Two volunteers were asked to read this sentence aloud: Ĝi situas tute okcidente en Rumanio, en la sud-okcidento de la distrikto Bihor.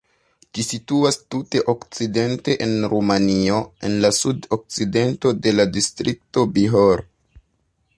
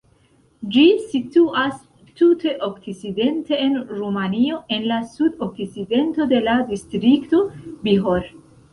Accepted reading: first